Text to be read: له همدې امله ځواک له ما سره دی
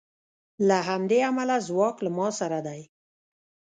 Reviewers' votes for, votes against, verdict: 0, 2, rejected